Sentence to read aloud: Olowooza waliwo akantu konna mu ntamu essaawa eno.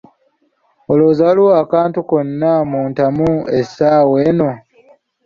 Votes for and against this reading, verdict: 2, 0, accepted